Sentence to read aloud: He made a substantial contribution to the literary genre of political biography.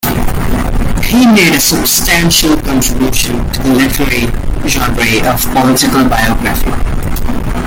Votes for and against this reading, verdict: 1, 2, rejected